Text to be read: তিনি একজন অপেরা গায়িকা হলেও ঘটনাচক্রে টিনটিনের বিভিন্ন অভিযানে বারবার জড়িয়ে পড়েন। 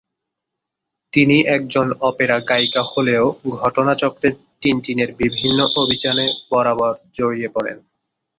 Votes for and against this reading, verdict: 2, 3, rejected